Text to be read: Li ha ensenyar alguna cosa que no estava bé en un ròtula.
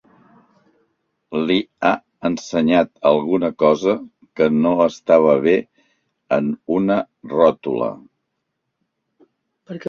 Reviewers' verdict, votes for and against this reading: rejected, 2, 3